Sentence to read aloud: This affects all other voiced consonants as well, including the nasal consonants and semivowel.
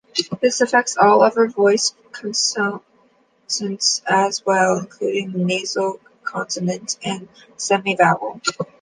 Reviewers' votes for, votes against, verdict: 1, 2, rejected